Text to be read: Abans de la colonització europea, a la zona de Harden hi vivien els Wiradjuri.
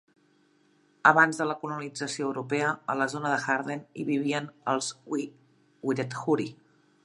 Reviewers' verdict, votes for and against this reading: rejected, 1, 2